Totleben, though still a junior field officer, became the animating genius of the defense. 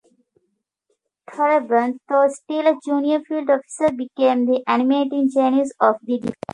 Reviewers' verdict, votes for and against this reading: rejected, 1, 2